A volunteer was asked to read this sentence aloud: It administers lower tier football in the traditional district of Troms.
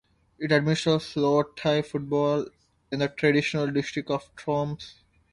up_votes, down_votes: 2, 0